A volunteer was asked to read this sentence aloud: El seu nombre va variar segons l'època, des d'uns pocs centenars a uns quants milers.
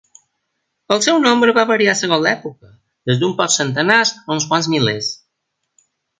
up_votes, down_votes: 1, 2